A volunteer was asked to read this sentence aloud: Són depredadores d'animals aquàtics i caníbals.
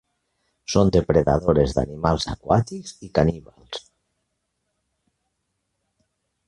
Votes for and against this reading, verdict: 1, 2, rejected